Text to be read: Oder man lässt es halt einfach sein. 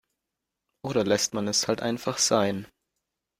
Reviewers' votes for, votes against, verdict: 1, 2, rejected